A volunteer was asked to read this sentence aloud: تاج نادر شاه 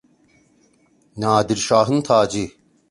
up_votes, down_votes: 0, 2